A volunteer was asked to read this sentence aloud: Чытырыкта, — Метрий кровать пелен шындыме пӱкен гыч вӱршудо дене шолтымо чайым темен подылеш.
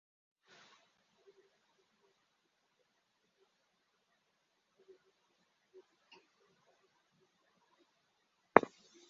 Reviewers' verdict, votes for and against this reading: rejected, 0, 2